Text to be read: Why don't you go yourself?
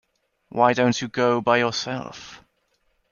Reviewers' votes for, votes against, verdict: 1, 2, rejected